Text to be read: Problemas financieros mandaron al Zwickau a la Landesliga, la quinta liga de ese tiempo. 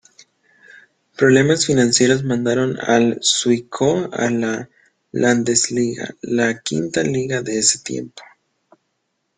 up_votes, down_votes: 2, 0